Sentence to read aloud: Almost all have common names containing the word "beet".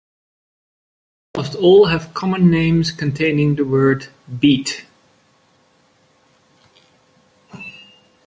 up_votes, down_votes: 1, 2